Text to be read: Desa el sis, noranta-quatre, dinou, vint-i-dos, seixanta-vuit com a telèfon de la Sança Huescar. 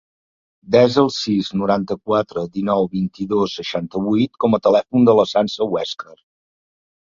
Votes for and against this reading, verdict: 4, 0, accepted